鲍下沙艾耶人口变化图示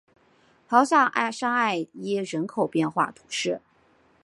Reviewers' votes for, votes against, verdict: 3, 0, accepted